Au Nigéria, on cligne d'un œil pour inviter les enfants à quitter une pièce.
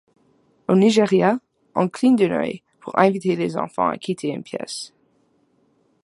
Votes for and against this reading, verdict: 1, 2, rejected